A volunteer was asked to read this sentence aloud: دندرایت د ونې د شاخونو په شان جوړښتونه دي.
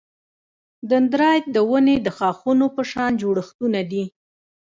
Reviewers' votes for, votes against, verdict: 1, 2, rejected